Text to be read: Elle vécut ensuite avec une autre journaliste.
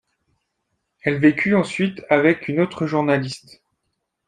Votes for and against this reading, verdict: 2, 0, accepted